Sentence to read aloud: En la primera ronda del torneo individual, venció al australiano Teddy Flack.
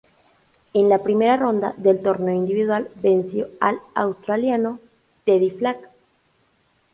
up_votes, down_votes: 2, 0